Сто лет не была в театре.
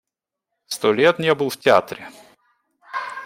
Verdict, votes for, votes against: rejected, 0, 2